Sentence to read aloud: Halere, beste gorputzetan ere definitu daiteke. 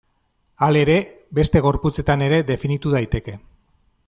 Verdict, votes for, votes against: accepted, 2, 0